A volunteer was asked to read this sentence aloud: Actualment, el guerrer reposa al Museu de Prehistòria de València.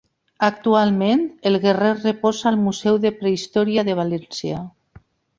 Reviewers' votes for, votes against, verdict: 2, 0, accepted